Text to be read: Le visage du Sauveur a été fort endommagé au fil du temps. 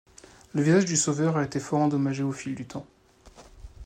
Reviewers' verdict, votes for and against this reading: accepted, 2, 0